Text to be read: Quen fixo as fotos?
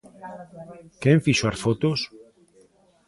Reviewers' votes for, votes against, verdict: 2, 0, accepted